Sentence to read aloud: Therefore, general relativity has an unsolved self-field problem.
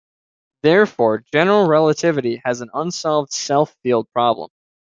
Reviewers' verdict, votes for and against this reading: accepted, 2, 0